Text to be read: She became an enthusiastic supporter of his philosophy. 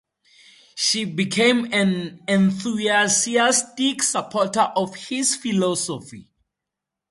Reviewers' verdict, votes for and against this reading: rejected, 2, 2